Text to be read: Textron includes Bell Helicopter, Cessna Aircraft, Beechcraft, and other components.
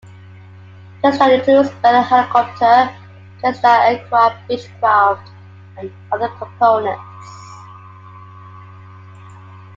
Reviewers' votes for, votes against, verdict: 2, 1, accepted